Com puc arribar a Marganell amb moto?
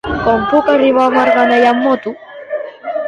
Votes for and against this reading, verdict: 0, 2, rejected